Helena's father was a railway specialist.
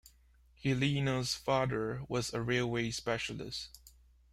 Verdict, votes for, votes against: rejected, 1, 2